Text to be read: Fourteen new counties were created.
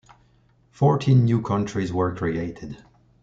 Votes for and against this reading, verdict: 0, 2, rejected